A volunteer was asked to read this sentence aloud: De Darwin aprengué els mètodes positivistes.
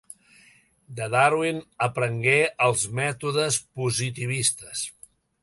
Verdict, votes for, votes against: accepted, 2, 0